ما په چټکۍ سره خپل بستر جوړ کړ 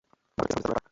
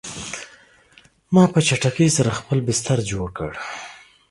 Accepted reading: second